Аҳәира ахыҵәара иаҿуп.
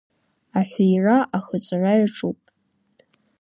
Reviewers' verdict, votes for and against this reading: rejected, 0, 2